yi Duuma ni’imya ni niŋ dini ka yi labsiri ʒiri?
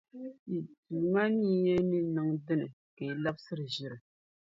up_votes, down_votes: 0, 2